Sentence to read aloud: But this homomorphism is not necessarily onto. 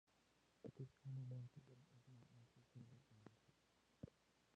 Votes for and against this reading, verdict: 0, 2, rejected